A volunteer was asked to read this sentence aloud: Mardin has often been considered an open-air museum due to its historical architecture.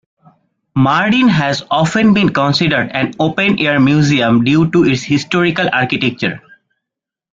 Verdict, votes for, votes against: accepted, 2, 0